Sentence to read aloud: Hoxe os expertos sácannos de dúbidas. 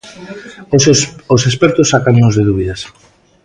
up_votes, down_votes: 1, 2